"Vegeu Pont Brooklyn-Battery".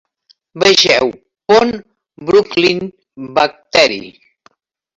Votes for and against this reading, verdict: 2, 0, accepted